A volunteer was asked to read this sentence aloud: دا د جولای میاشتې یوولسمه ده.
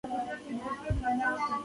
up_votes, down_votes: 0, 2